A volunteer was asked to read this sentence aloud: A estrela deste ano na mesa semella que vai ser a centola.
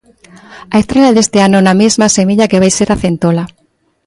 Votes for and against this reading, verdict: 0, 2, rejected